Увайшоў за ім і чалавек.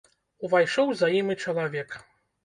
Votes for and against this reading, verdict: 2, 0, accepted